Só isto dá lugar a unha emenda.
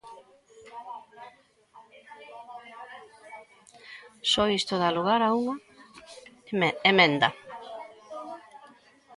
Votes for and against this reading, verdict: 2, 1, accepted